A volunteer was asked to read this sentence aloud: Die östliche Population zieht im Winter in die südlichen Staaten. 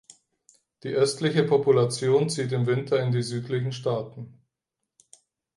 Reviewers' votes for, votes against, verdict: 4, 0, accepted